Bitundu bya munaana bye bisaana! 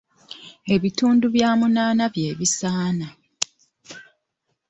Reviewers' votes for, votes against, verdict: 1, 2, rejected